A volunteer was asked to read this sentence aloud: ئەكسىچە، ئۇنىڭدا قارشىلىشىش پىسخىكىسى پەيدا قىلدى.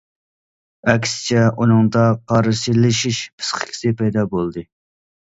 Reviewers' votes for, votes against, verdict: 1, 2, rejected